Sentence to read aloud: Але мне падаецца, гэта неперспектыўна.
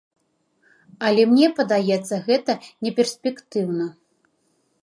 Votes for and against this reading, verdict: 2, 0, accepted